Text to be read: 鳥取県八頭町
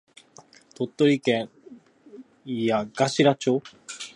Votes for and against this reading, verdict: 1, 2, rejected